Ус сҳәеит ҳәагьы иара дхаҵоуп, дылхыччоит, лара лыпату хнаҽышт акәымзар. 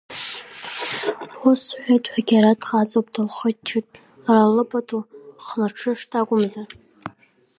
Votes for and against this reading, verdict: 0, 2, rejected